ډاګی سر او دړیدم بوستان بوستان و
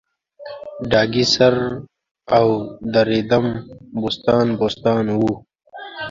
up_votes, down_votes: 0, 2